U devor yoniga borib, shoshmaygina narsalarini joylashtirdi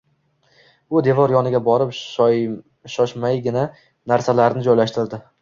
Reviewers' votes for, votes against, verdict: 2, 1, accepted